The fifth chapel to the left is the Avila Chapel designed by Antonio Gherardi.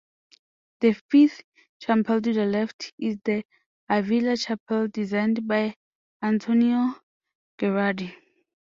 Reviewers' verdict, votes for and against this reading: rejected, 1, 2